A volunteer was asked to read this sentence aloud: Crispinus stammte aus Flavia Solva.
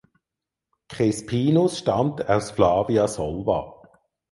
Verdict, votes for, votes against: rejected, 0, 4